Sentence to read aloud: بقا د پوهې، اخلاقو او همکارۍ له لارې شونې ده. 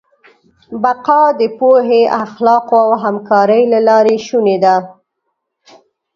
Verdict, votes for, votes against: accepted, 2, 0